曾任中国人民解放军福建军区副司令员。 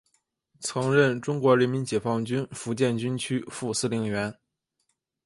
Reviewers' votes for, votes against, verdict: 3, 2, accepted